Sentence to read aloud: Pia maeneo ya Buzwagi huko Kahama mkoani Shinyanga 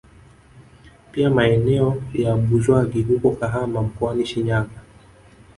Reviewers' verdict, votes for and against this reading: rejected, 0, 2